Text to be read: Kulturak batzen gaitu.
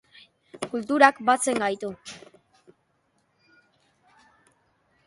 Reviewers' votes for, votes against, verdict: 2, 1, accepted